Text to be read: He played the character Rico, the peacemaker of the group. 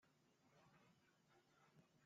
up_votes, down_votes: 0, 2